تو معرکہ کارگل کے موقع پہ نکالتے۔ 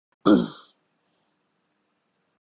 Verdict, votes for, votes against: rejected, 3, 12